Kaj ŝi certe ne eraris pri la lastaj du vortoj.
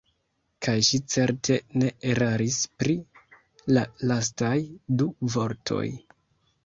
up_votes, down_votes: 2, 0